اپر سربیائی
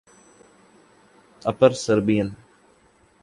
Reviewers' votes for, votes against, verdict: 0, 2, rejected